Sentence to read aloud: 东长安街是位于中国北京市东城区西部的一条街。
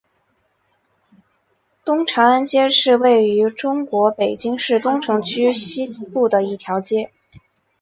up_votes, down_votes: 2, 0